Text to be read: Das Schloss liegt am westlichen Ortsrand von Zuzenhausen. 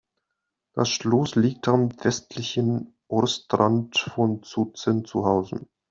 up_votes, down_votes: 1, 2